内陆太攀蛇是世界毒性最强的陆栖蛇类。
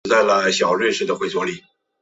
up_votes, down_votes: 0, 2